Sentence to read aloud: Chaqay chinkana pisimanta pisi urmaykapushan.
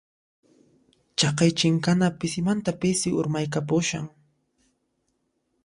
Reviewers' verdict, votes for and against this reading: accepted, 2, 0